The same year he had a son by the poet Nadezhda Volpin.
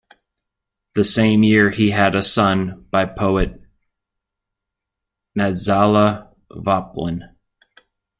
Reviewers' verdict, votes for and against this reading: rejected, 1, 2